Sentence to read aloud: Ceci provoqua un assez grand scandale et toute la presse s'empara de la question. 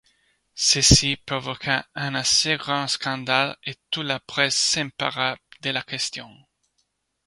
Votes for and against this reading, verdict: 0, 2, rejected